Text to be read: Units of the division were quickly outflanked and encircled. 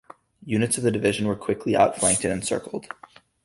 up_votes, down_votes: 2, 2